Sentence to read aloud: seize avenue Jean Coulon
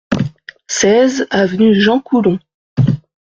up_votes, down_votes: 2, 0